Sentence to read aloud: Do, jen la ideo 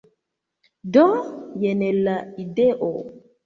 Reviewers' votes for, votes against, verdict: 2, 0, accepted